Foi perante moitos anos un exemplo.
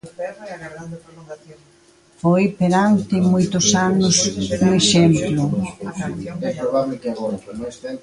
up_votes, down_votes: 0, 2